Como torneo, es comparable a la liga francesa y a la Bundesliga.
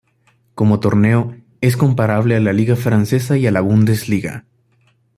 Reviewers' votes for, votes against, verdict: 2, 0, accepted